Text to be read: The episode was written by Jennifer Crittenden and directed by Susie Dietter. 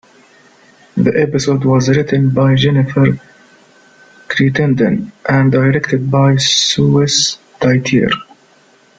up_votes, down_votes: 1, 3